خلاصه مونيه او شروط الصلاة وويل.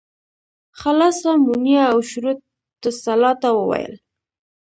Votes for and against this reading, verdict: 1, 2, rejected